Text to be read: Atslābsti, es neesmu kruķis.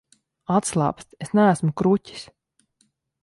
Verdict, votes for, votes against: accepted, 3, 0